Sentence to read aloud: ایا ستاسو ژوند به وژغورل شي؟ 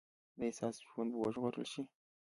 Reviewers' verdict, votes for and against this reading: accepted, 2, 0